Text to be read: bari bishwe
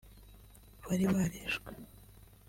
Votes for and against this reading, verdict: 2, 3, rejected